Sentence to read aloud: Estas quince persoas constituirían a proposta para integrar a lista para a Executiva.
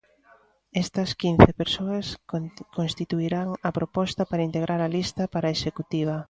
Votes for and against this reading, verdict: 0, 2, rejected